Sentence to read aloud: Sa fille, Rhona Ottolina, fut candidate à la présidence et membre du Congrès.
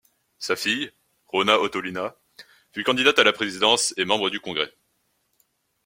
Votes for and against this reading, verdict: 2, 0, accepted